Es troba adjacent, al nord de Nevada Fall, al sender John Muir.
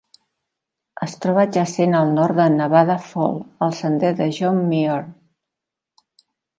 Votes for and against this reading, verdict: 2, 3, rejected